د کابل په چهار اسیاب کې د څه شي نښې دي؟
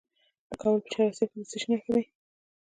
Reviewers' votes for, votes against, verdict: 2, 0, accepted